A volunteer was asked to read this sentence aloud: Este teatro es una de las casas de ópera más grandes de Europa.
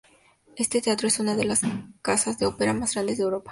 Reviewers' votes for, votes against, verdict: 2, 0, accepted